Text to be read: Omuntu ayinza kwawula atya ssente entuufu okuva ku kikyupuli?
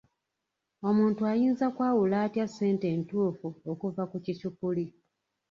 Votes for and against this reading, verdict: 1, 2, rejected